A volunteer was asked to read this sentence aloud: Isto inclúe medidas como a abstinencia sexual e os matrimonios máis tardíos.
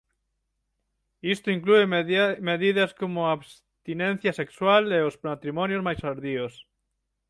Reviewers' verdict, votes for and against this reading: rejected, 0, 6